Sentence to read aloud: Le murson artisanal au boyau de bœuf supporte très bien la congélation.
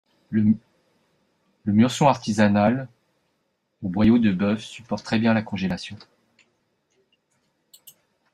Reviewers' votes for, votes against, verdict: 0, 2, rejected